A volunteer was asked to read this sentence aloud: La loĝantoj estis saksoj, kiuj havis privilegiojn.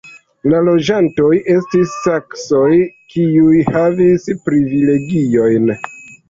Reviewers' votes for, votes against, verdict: 3, 0, accepted